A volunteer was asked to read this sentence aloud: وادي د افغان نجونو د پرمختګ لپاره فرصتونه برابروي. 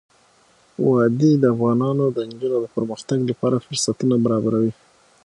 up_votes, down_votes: 6, 0